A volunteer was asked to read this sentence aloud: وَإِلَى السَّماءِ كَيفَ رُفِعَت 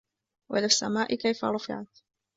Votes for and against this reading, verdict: 2, 1, accepted